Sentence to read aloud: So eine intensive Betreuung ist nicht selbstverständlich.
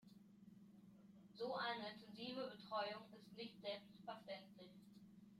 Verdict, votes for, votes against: rejected, 0, 2